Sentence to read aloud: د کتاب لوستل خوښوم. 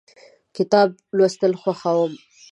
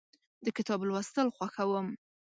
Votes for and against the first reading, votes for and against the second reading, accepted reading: 1, 2, 2, 0, second